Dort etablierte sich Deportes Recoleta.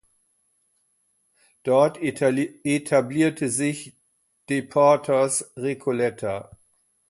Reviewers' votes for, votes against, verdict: 0, 2, rejected